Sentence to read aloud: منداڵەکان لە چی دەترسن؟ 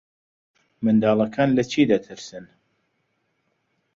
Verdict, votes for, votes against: accepted, 2, 0